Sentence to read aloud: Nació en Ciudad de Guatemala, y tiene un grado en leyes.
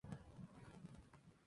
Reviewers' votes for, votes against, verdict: 2, 8, rejected